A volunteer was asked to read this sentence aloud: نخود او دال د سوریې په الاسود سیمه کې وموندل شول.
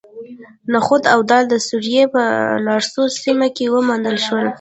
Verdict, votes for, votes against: rejected, 0, 2